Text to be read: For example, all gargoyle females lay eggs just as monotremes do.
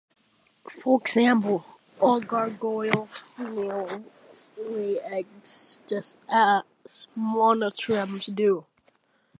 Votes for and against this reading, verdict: 1, 2, rejected